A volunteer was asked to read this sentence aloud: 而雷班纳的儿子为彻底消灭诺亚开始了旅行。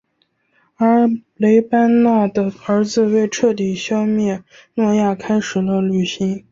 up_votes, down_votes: 2, 0